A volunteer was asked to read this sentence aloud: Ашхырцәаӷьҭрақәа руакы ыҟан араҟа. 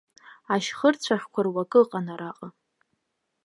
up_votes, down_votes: 1, 2